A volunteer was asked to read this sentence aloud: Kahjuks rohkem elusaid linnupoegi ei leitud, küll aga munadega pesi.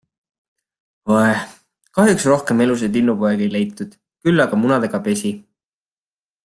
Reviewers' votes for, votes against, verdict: 2, 1, accepted